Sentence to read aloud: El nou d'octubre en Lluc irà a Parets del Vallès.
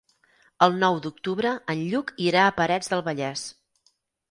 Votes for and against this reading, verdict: 6, 0, accepted